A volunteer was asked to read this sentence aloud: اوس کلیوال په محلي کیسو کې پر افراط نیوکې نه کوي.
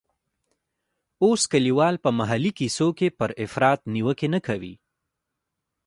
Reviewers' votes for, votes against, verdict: 2, 1, accepted